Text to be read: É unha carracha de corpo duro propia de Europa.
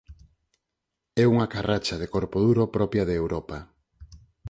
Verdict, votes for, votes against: accepted, 4, 0